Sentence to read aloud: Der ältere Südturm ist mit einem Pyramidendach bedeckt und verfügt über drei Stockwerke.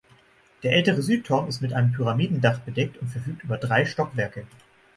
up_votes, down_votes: 3, 6